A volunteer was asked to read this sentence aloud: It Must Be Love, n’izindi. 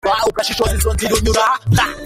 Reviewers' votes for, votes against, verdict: 0, 2, rejected